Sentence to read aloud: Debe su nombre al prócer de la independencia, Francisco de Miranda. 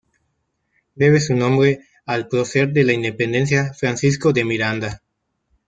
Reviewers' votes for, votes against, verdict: 0, 2, rejected